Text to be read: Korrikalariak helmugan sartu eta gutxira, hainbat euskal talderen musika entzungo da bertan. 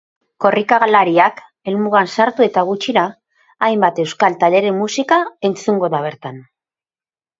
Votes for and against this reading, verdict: 0, 2, rejected